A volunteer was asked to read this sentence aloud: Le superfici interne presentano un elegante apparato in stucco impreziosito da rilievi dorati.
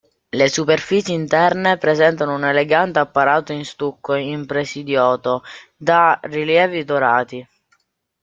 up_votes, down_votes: 0, 2